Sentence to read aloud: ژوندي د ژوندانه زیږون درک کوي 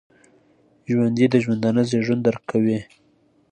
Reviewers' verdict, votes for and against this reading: accepted, 2, 0